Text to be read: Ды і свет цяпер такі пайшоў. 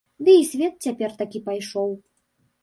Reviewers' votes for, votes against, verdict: 2, 0, accepted